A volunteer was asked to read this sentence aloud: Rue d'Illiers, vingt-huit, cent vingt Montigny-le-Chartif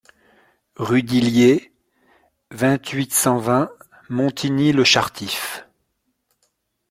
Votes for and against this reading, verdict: 2, 0, accepted